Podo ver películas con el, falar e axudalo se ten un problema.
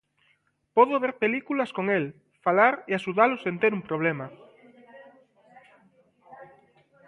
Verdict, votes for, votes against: rejected, 0, 2